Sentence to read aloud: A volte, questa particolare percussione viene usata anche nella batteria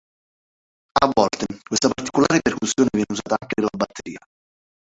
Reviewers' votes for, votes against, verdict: 0, 2, rejected